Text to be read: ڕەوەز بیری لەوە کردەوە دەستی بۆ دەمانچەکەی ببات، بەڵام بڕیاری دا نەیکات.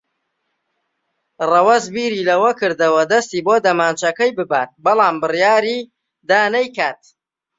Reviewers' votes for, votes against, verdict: 2, 0, accepted